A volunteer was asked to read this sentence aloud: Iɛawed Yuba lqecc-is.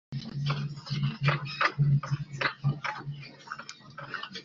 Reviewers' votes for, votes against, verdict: 0, 2, rejected